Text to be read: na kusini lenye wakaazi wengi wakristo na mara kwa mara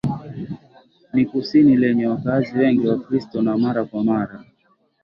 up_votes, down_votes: 0, 2